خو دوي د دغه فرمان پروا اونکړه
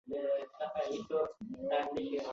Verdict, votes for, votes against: rejected, 0, 2